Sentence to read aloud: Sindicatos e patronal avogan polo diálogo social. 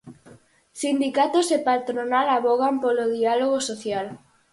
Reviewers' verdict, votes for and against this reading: accepted, 4, 0